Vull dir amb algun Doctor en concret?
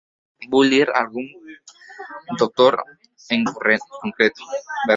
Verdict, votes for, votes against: rejected, 1, 2